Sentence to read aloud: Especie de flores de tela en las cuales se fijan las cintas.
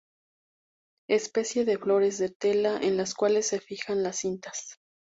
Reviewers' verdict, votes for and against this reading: rejected, 0, 2